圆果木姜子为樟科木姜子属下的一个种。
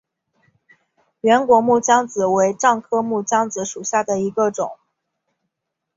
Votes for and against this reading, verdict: 3, 0, accepted